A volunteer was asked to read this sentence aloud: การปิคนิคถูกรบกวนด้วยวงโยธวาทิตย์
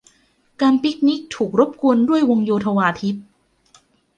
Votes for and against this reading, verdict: 2, 0, accepted